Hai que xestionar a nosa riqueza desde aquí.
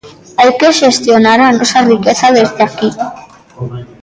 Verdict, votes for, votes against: rejected, 0, 2